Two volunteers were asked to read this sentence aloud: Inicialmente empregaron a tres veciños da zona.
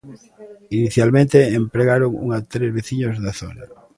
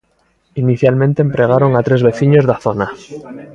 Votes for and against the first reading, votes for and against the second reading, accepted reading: 0, 2, 2, 0, second